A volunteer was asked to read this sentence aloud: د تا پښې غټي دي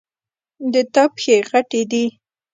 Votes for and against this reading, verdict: 0, 2, rejected